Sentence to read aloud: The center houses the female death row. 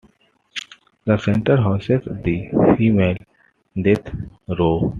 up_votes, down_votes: 2, 0